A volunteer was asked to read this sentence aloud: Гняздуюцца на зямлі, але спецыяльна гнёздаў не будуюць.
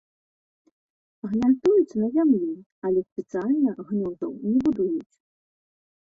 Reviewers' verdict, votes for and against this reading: accepted, 2, 0